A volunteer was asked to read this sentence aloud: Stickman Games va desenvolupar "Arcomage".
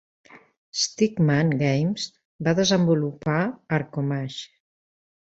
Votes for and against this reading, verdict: 2, 0, accepted